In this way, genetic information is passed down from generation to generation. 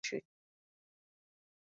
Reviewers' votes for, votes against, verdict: 0, 2, rejected